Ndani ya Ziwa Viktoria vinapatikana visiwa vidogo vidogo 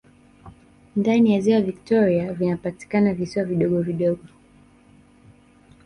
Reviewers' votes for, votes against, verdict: 2, 0, accepted